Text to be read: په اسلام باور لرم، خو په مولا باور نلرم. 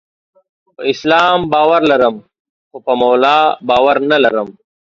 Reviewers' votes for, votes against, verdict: 2, 1, accepted